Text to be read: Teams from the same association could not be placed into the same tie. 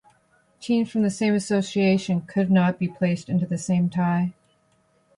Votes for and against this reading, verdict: 2, 0, accepted